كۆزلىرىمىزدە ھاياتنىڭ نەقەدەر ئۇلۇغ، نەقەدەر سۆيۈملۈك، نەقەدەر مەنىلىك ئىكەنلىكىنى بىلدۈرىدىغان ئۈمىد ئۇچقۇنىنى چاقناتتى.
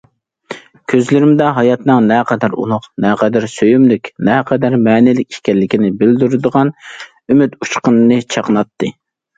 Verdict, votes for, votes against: rejected, 1, 2